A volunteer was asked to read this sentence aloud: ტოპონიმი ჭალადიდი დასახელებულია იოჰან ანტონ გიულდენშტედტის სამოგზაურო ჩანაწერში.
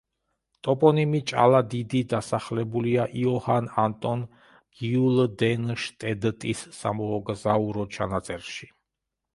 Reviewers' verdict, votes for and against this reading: rejected, 1, 2